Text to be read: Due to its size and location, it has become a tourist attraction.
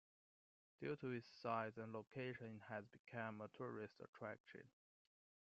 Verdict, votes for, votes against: accepted, 2, 0